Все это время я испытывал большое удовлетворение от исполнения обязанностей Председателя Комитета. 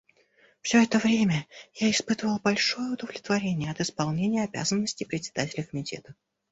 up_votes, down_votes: 1, 2